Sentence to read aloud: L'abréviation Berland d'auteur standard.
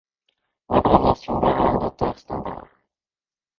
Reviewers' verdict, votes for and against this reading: rejected, 0, 2